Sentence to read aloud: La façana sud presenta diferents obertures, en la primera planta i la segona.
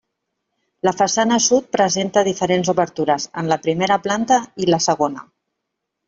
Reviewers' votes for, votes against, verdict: 3, 0, accepted